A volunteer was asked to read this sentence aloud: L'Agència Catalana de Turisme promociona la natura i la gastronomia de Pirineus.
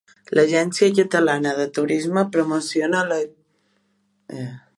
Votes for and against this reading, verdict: 0, 2, rejected